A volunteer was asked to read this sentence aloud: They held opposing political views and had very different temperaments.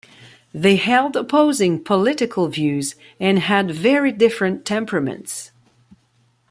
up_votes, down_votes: 2, 0